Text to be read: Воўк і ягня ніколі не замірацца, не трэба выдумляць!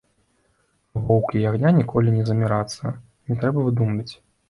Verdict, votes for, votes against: rejected, 1, 2